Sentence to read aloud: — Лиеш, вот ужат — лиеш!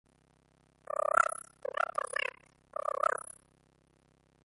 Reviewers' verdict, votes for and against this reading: rejected, 0, 2